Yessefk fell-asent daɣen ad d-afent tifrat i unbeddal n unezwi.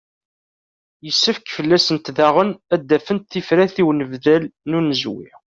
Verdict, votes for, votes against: accepted, 2, 0